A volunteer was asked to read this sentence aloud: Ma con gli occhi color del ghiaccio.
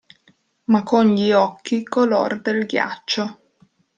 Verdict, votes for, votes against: rejected, 0, 2